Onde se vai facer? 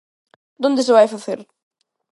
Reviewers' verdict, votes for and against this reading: rejected, 1, 2